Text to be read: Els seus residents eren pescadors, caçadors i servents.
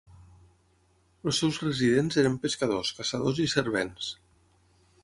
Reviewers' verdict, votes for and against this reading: accepted, 6, 0